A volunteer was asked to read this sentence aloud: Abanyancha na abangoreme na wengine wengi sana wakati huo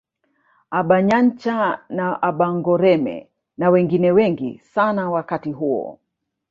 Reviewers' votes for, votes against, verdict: 2, 1, accepted